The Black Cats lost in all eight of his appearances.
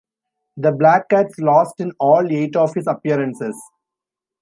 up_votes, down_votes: 2, 0